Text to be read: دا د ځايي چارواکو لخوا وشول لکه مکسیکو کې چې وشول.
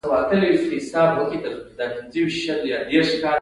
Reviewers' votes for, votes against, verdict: 1, 2, rejected